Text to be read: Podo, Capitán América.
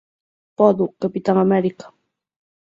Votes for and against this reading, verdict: 6, 0, accepted